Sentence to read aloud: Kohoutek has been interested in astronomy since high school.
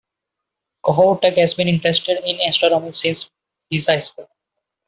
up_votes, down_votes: 2, 1